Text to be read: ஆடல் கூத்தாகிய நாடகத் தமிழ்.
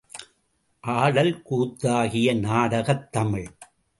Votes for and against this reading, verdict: 2, 0, accepted